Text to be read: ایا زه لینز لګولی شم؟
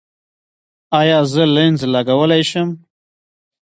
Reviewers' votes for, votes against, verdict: 2, 0, accepted